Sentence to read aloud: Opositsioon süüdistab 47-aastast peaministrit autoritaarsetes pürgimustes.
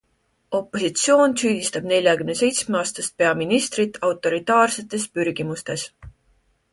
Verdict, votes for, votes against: rejected, 0, 2